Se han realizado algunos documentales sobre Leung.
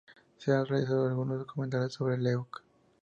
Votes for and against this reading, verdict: 0, 6, rejected